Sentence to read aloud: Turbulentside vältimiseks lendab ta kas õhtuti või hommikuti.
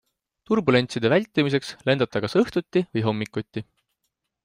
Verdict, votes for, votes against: accepted, 2, 0